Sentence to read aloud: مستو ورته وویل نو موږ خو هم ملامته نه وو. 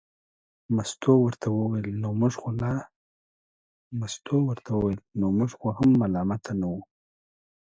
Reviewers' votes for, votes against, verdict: 1, 2, rejected